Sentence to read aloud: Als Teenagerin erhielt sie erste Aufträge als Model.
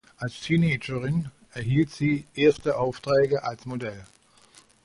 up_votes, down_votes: 1, 2